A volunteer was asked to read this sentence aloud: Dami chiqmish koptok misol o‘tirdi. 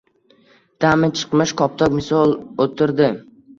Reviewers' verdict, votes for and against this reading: accepted, 2, 0